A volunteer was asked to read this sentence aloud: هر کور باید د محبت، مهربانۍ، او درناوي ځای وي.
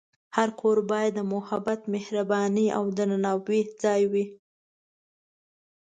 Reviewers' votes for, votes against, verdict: 2, 0, accepted